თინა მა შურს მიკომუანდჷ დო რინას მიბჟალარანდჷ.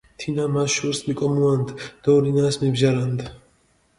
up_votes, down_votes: 1, 2